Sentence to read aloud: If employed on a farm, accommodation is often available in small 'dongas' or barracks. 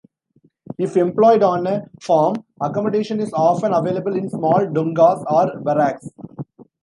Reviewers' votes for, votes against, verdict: 2, 0, accepted